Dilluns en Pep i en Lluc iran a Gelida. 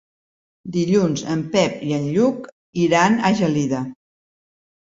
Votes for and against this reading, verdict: 3, 0, accepted